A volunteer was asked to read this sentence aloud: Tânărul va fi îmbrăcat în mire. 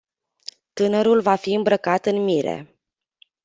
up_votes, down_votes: 2, 0